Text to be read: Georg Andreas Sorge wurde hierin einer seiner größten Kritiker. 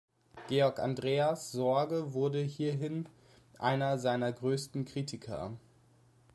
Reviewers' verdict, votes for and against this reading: accepted, 2, 0